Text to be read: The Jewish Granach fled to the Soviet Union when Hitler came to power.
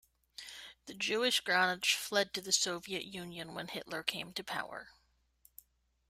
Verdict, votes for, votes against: accepted, 2, 0